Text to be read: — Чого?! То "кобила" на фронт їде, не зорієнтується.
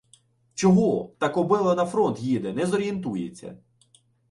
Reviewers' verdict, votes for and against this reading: rejected, 1, 2